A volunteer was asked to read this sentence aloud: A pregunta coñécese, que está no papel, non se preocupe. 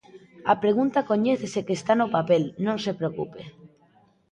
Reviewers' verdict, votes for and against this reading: rejected, 1, 2